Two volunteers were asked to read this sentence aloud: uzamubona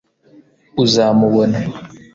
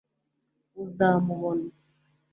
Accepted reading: second